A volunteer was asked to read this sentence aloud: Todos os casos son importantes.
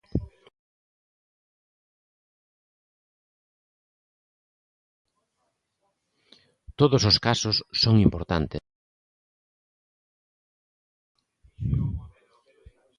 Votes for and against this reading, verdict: 0, 2, rejected